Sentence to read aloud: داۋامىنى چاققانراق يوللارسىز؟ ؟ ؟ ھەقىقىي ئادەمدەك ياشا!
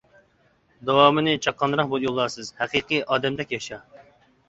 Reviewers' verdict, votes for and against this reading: rejected, 0, 2